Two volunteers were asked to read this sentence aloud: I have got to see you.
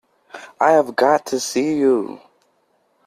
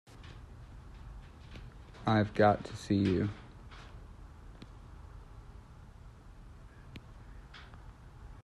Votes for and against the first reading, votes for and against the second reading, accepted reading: 2, 0, 1, 2, first